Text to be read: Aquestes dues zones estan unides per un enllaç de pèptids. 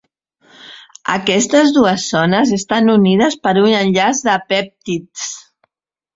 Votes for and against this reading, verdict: 3, 0, accepted